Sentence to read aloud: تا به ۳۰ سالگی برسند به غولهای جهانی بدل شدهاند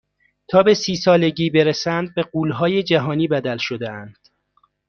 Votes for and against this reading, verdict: 0, 2, rejected